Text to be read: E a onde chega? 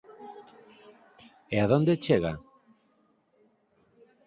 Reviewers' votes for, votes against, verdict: 0, 4, rejected